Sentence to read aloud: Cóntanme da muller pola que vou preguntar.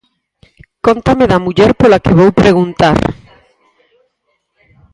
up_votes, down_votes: 0, 4